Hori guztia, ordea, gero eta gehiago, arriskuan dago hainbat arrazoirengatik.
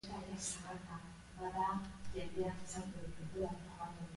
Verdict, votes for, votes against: rejected, 0, 2